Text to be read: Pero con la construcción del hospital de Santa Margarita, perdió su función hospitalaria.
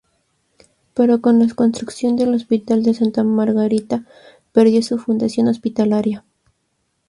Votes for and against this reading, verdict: 0, 2, rejected